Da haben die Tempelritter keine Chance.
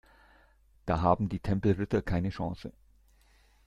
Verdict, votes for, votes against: accepted, 2, 0